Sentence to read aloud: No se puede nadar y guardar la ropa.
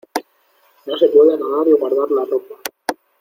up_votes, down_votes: 2, 0